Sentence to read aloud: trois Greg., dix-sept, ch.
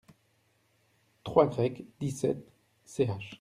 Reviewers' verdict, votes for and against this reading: accepted, 2, 0